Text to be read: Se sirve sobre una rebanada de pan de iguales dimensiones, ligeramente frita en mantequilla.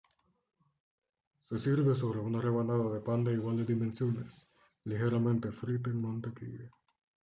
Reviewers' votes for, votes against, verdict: 2, 0, accepted